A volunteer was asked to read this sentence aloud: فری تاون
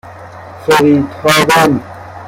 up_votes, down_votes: 0, 2